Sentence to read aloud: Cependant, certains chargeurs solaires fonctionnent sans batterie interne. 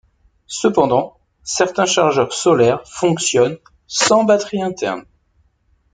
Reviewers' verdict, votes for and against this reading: accepted, 2, 0